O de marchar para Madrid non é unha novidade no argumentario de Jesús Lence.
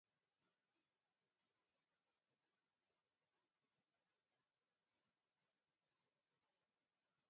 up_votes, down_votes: 0, 2